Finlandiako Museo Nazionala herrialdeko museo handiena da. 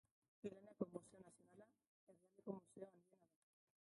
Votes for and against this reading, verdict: 0, 2, rejected